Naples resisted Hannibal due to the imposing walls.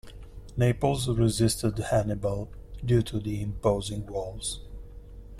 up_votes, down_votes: 2, 0